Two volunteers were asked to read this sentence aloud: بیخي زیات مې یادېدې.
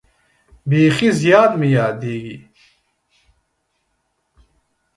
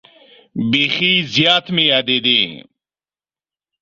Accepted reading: second